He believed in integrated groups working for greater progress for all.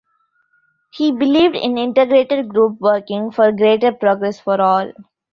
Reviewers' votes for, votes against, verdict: 1, 2, rejected